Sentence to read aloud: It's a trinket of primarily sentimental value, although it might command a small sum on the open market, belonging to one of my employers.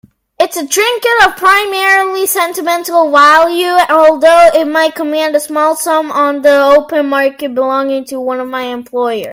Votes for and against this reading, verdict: 1, 2, rejected